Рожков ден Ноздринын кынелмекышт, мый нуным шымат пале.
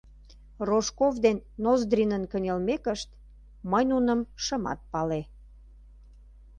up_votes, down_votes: 2, 0